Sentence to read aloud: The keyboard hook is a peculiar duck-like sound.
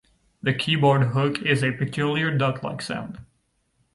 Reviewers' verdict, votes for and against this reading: accepted, 2, 0